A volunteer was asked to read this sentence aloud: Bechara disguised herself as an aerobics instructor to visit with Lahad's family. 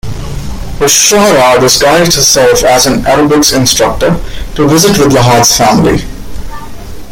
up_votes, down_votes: 2, 1